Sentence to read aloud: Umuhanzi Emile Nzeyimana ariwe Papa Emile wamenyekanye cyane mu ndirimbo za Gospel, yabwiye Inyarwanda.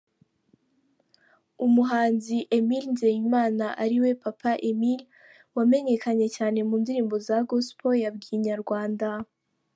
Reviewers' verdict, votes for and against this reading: accepted, 2, 0